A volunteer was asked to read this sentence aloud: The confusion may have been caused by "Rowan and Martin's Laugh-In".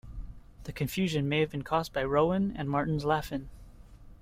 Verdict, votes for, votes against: accepted, 2, 0